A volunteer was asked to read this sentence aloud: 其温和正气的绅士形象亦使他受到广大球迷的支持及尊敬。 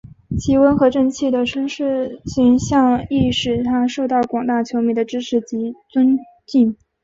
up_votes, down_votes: 5, 0